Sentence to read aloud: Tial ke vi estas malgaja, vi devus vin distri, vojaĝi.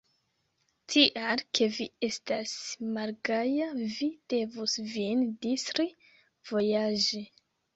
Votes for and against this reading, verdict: 2, 0, accepted